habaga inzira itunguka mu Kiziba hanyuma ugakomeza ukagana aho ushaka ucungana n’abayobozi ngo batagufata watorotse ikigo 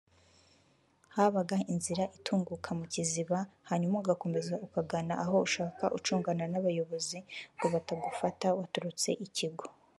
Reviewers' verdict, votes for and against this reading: rejected, 1, 2